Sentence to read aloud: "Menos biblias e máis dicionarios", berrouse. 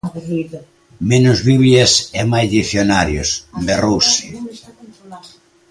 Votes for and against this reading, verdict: 0, 2, rejected